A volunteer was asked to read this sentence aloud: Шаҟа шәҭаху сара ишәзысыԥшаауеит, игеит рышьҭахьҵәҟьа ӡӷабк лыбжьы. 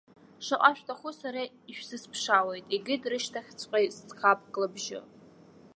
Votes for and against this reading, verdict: 0, 2, rejected